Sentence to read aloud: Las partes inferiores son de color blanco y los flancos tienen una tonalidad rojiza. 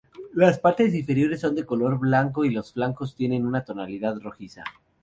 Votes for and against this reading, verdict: 0, 2, rejected